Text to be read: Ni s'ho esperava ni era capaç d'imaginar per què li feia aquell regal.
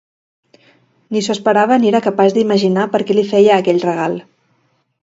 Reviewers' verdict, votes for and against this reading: accepted, 2, 0